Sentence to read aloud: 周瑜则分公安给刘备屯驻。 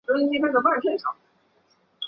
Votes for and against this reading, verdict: 2, 0, accepted